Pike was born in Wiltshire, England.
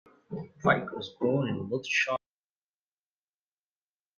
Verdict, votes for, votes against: rejected, 0, 2